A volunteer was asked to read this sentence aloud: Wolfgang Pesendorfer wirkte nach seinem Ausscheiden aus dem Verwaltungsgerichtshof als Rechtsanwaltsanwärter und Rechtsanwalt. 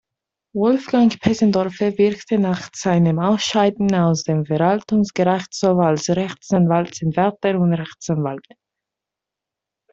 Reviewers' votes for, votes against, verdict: 2, 0, accepted